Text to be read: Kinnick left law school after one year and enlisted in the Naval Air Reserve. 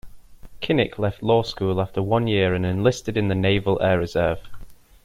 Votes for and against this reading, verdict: 2, 0, accepted